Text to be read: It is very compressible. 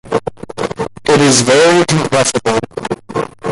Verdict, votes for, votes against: accepted, 2, 1